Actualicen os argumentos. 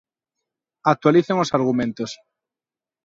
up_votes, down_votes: 2, 0